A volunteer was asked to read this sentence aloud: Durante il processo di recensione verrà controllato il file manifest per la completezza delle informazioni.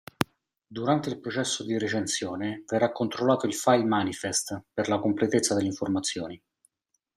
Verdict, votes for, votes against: accepted, 2, 0